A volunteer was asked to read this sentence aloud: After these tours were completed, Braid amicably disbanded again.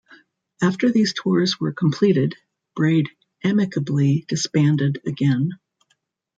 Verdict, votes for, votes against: accepted, 2, 1